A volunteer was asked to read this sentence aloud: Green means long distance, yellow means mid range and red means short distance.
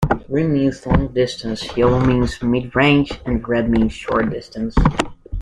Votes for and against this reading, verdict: 2, 0, accepted